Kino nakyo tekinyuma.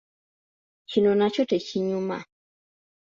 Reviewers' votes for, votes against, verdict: 2, 1, accepted